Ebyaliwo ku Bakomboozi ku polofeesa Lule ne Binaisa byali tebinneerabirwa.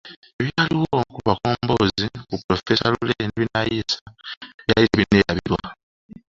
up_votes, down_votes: 2, 1